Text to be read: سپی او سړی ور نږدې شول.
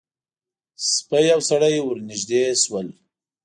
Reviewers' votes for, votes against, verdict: 2, 0, accepted